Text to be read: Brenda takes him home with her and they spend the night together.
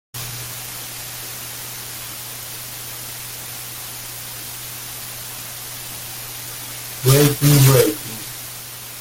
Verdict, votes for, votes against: rejected, 0, 2